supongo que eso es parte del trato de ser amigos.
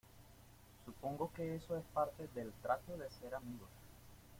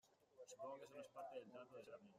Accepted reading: first